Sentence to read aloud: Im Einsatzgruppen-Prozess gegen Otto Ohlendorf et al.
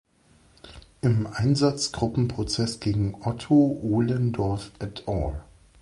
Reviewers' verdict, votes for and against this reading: accepted, 2, 0